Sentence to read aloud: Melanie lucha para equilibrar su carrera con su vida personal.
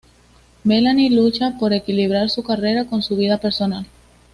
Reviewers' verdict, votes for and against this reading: accepted, 2, 0